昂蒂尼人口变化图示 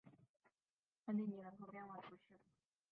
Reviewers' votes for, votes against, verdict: 0, 2, rejected